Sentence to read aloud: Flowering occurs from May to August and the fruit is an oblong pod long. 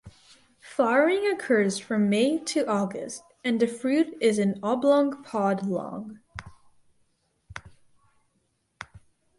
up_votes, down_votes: 4, 0